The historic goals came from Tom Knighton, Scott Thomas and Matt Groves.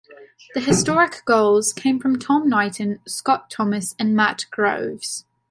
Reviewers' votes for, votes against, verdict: 2, 0, accepted